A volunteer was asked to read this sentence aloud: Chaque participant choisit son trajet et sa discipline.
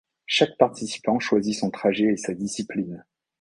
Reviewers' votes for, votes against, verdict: 2, 0, accepted